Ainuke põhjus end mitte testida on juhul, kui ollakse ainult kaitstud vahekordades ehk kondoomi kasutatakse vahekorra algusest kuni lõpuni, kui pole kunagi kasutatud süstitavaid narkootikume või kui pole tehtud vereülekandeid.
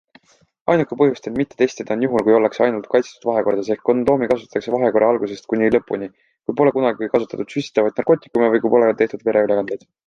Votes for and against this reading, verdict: 2, 0, accepted